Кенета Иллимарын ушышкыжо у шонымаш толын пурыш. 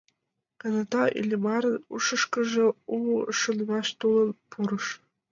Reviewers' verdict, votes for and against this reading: rejected, 1, 2